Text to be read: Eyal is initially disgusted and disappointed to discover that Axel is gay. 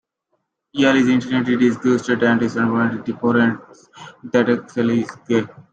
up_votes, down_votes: 0, 2